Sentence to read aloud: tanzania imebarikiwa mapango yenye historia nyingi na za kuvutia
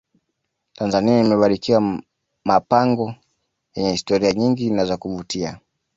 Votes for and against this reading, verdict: 2, 0, accepted